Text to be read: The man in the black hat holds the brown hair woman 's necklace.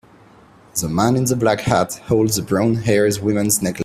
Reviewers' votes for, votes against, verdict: 2, 1, accepted